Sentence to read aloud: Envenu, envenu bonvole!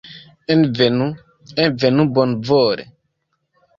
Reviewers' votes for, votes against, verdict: 0, 2, rejected